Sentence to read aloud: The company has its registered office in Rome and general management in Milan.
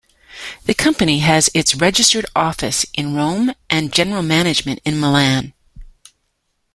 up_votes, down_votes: 2, 0